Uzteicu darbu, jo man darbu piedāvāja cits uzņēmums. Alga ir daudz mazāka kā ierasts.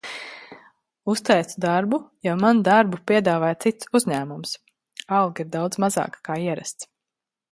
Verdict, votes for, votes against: accepted, 2, 0